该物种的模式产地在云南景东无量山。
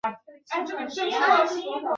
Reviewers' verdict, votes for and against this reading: rejected, 0, 2